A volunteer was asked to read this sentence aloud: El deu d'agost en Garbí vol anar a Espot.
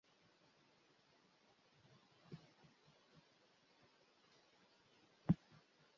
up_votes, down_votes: 0, 2